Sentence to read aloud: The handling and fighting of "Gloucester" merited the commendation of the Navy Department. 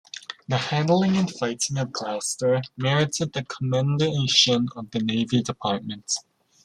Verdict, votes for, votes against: rejected, 1, 2